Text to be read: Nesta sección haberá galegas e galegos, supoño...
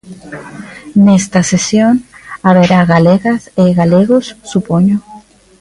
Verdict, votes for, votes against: rejected, 0, 2